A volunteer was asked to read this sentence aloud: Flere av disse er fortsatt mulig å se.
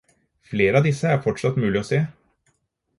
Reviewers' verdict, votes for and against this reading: accepted, 4, 0